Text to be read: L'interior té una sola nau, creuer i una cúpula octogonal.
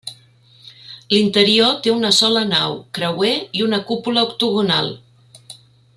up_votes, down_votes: 3, 0